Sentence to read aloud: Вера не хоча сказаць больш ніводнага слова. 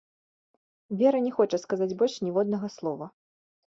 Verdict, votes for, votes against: accepted, 3, 0